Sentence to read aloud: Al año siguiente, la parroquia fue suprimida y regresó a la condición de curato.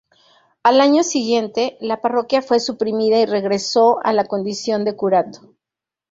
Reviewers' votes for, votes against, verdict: 2, 0, accepted